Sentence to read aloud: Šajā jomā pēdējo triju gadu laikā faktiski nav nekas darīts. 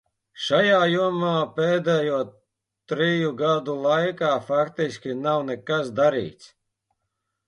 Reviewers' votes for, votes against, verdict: 2, 1, accepted